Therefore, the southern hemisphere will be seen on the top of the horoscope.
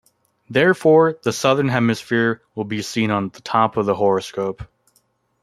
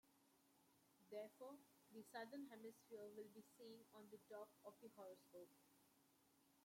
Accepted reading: first